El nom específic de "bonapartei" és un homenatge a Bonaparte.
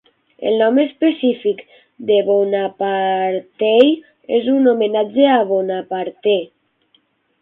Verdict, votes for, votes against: rejected, 3, 6